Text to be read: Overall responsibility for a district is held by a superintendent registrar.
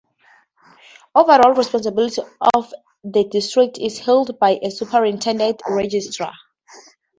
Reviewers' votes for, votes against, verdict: 0, 2, rejected